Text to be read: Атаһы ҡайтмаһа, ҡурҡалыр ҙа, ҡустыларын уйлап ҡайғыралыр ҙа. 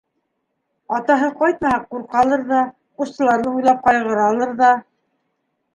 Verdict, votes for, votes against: accepted, 2, 0